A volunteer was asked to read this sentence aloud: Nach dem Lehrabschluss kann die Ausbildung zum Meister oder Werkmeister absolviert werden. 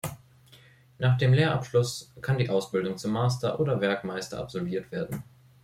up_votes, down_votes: 0, 2